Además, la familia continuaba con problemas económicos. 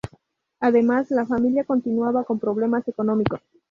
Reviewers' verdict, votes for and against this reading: rejected, 2, 2